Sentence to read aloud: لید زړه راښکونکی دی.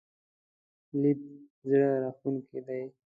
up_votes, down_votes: 1, 2